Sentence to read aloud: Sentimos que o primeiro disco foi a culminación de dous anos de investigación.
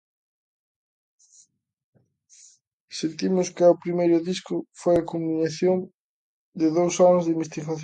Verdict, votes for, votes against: rejected, 0, 2